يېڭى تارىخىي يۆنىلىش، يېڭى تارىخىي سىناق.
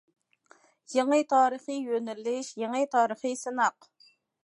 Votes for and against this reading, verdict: 2, 0, accepted